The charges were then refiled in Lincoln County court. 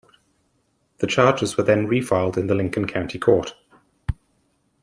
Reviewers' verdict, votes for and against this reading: accepted, 2, 1